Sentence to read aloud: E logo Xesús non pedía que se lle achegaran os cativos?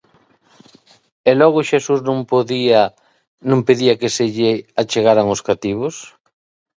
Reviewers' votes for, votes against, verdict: 0, 2, rejected